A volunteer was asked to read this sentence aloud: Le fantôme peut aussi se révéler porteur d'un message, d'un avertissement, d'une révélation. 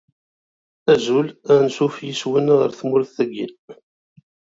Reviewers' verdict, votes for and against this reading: rejected, 0, 2